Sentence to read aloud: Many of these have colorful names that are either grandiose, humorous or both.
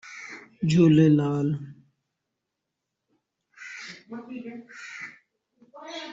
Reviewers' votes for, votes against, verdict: 0, 2, rejected